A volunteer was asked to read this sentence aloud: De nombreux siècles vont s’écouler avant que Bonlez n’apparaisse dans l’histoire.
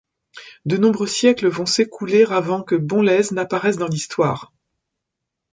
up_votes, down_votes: 2, 0